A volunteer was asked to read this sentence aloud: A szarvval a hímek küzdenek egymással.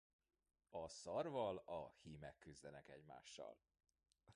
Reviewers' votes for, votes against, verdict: 0, 2, rejected